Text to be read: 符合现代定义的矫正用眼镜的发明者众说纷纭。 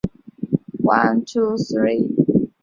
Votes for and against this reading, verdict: 0, 2, rejected